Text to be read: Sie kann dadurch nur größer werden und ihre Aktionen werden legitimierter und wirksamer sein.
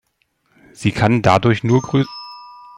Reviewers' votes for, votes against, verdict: 0, 2, rejected